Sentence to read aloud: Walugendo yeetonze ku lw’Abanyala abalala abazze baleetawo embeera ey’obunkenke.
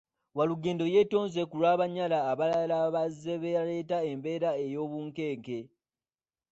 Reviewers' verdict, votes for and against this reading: rejected, 0, 2